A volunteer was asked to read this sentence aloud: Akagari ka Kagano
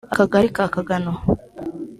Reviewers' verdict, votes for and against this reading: accepted, 4, 0